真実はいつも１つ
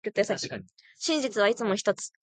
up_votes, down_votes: 0, 2